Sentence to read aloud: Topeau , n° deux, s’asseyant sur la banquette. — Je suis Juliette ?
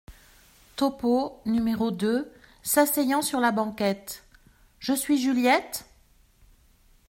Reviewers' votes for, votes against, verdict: 2, 0, accepted